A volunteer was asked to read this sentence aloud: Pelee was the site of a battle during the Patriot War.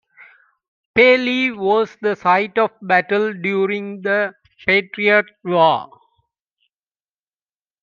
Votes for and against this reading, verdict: 2, 1, accepted